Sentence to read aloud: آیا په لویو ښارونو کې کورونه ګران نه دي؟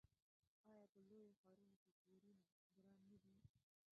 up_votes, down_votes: 1, 2